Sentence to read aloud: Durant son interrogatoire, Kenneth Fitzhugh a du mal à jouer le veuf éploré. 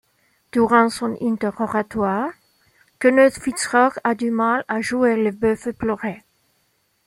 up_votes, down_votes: 1, 2